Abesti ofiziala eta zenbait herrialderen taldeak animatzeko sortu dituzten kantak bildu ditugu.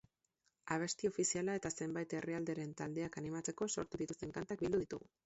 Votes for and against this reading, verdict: 0, 2, rejected